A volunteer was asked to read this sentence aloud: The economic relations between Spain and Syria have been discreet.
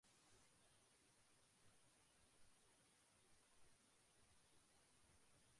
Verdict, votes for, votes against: rejected, 0, 2